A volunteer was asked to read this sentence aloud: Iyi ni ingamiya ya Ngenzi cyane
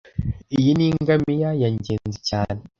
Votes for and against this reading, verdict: 2, 0, accepted